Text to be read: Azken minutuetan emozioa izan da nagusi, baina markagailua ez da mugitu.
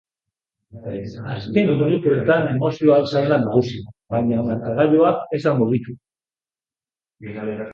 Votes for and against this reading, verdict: 1, 3, rejected